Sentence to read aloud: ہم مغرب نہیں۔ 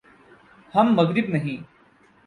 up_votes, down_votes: 32, 0